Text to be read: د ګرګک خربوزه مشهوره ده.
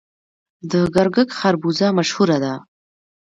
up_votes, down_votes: 2, 0